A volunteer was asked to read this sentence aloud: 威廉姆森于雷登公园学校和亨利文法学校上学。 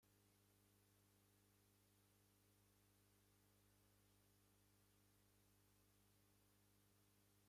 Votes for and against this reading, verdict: 0, 2, rejected